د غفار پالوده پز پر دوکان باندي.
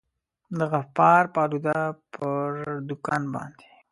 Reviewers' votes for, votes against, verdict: 1, 2, rejected